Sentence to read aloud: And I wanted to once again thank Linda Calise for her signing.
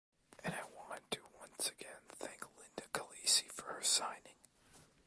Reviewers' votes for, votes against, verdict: 2, 1, accepted